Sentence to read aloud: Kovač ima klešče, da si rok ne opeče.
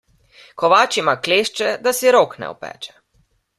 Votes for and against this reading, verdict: 2, 0, accepted